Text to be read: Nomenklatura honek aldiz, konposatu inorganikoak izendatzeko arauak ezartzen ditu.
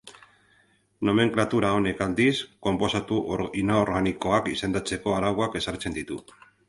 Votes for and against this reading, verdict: 0, 4, rejected